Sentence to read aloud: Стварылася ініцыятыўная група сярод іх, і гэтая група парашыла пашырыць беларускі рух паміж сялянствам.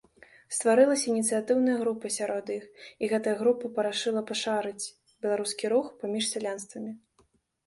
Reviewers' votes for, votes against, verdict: 0, 2, rejected